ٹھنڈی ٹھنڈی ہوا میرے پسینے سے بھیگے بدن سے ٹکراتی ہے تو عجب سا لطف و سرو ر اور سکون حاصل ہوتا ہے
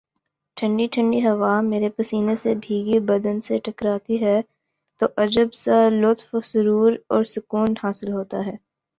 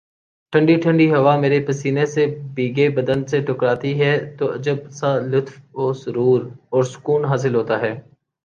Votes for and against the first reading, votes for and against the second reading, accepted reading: 3, 0, 1, 2, first